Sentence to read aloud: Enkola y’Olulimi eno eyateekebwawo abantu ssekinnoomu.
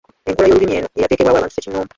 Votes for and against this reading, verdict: 1, 2, rejected